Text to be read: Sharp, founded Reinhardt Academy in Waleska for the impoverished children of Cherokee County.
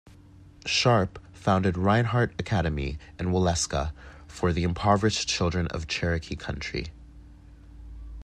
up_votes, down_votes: 1, 2